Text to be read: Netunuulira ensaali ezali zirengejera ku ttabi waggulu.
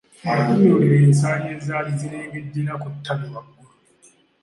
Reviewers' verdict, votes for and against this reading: rejected, 0, 2